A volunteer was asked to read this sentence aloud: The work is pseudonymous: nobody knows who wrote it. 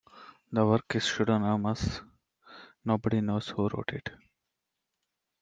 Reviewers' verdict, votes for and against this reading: rejected, 0, 2